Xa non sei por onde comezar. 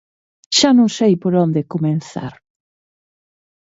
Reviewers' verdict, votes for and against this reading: rejected, 0, 2